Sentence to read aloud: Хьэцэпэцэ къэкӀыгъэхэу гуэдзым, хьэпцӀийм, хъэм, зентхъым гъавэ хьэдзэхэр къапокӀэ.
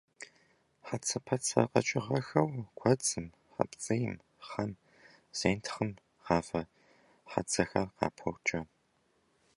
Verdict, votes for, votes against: rejected, 0, 2